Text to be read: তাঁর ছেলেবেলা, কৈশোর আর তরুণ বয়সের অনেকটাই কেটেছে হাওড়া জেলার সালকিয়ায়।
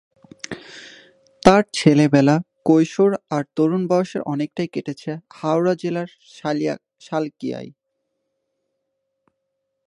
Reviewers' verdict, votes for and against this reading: rejected, 2, 4